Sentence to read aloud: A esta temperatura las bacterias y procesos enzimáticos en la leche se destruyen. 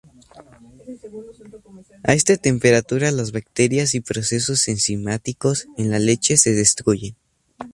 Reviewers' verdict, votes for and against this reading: accepted, 2, 0